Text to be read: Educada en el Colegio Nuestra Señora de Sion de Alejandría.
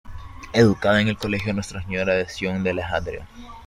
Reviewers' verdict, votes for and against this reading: accepted, 2, 0